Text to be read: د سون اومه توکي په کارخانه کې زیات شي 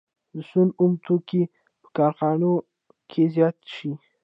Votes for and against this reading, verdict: 1, 2, rejected